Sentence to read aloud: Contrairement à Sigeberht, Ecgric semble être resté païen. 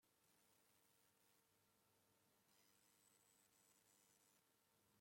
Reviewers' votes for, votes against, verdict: 1, 2, rejected